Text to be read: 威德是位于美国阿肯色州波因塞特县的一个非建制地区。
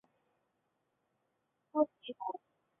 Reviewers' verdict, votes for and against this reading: rejected, 1, 8